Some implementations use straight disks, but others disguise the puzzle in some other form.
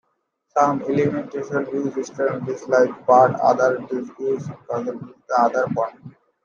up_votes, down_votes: 0, 2